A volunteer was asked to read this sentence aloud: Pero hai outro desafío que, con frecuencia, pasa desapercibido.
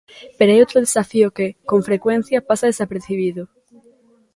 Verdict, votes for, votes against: rejected, 1, 2